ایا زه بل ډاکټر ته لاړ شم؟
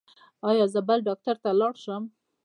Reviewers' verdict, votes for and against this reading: rejected, 1, 2